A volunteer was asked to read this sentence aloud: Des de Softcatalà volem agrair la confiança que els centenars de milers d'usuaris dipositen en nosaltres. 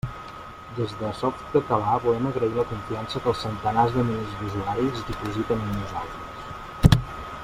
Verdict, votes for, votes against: accepted, 2, 1